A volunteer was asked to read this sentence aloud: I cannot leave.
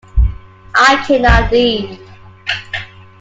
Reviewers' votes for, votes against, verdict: 2, 1, accepted